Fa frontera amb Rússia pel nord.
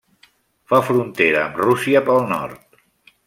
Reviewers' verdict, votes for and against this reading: accepted, 3, 0